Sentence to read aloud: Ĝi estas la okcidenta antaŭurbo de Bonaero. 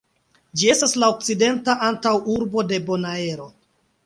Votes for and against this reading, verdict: 2, 0, accepted